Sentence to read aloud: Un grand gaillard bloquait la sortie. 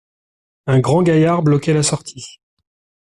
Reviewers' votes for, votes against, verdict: 2, 0, accepted